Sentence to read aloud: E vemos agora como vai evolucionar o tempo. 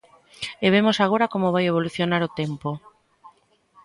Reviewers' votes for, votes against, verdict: 1, 2, rejected